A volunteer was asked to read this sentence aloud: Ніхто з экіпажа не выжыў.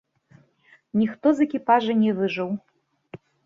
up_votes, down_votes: 2, 0